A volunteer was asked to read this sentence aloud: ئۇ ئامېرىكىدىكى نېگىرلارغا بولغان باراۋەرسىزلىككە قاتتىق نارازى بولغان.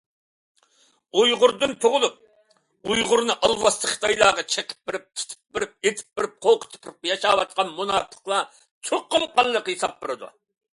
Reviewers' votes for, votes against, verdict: 0, 2, rejected